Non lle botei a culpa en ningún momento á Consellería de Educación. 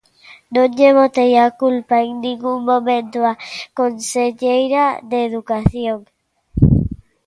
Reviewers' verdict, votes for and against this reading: rejected, 0, 2